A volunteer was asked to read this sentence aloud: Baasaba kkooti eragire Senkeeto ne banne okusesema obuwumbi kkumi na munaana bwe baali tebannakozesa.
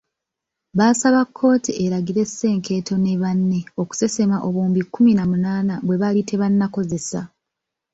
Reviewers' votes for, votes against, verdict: 2, 0, accepted